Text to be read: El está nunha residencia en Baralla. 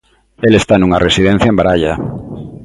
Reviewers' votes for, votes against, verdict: 2, 0, accepted